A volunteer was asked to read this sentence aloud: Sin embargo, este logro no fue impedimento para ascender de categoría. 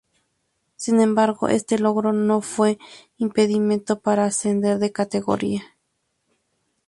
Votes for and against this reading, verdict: 2, 0, accepted